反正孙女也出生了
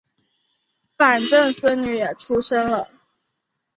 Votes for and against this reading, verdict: 2, 0, accepted